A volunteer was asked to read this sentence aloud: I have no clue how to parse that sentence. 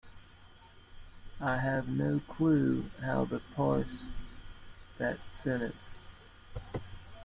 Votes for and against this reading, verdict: 2, 1, accepted